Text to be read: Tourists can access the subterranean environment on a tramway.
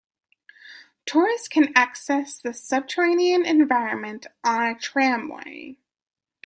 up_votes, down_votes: 2, 0